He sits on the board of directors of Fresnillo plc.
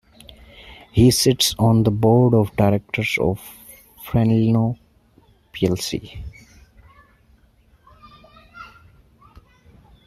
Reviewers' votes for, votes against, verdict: 1, 2, rejected